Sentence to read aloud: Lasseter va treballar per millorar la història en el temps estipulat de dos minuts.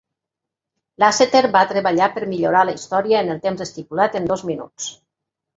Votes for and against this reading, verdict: 0, 2, rejected